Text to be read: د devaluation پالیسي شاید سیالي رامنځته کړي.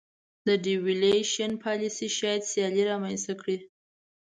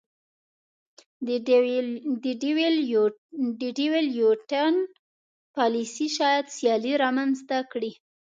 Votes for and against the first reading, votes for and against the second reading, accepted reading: 2, 0, 0, 2, first